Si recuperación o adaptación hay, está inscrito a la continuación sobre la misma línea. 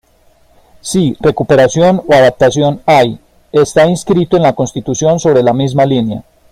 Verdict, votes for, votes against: rejected, 1, 2